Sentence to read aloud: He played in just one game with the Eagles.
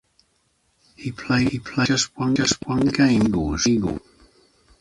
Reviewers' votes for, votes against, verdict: 0, 2, rejected